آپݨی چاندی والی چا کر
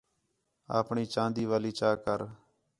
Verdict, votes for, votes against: accepted, 4, 0